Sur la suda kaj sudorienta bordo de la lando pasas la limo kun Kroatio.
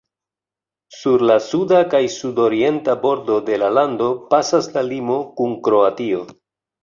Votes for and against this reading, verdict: 2, 0, accepted